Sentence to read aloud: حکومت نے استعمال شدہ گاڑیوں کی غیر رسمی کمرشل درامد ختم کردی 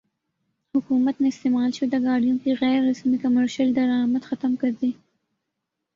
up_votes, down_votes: 2, 0